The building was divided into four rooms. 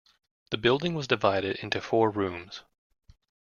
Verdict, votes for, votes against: accepted, 2, 0